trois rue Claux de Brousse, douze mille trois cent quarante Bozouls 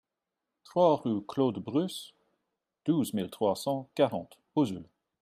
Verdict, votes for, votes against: rejected, 1, 2